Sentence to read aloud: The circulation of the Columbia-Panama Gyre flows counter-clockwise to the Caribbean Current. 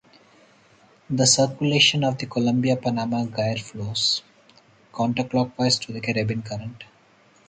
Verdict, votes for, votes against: rejected, 2, 2